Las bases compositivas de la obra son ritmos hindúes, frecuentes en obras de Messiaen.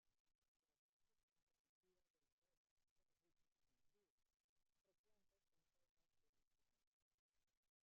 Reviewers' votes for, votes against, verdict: 0, 2, rejected